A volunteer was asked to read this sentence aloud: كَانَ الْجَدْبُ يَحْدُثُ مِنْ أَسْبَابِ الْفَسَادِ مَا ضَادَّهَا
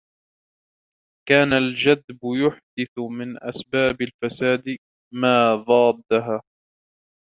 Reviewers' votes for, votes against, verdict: 1, 2, rejected